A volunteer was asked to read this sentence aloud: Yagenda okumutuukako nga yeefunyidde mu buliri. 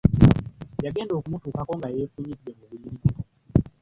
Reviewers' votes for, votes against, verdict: 0, 2, rejected